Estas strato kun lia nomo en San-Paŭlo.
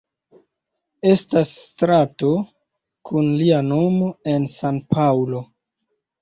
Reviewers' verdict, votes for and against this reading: accepted, 2, 0